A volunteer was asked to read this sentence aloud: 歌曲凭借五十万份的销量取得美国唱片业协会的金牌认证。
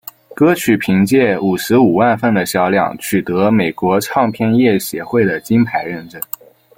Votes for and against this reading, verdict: 1, 2, rejected